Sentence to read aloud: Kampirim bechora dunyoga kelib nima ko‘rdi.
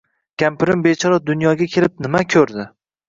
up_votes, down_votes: 2, 0